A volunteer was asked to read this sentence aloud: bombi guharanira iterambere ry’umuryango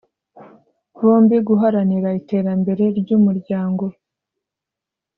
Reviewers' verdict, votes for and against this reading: accepted, 2, 0